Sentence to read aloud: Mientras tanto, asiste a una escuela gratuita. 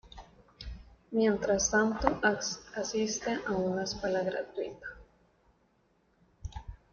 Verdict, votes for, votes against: accepted, 2, 0